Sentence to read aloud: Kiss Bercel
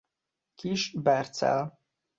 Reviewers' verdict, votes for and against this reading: accepted, 2, 0